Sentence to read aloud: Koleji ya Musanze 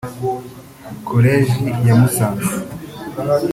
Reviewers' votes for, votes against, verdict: 2, 0, accepted